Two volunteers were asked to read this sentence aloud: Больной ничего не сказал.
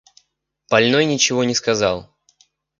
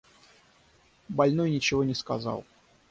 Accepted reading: first